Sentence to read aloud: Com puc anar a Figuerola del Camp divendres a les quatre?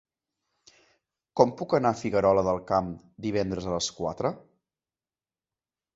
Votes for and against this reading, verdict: 2, 0, accepted